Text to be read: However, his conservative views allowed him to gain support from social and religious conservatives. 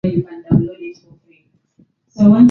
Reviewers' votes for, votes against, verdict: 1, 5, rejected